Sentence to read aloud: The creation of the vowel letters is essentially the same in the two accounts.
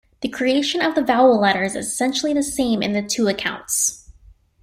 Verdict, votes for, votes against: accepted, 2, 0